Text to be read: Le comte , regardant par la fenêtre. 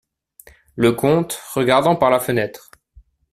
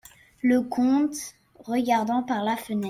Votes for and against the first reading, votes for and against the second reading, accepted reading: 2, 0, 1, 2, first